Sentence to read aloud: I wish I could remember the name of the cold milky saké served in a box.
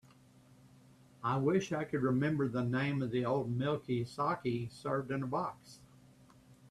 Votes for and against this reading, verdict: 1, 2, rejected